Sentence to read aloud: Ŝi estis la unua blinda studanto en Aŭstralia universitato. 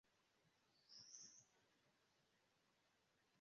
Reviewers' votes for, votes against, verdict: 0, 2, rejected